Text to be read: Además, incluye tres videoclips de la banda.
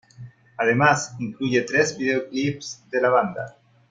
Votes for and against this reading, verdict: 2, 0, accepted